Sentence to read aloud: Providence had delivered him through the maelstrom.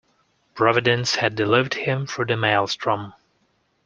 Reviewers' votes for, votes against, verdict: 2, 1, accepted